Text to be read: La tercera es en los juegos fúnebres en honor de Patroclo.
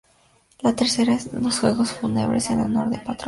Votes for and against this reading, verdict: 2, 2, rejected